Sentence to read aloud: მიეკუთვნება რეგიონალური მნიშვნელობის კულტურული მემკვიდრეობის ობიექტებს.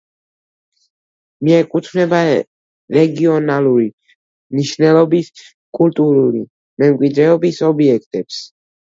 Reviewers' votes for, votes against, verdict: 1, 2, rejected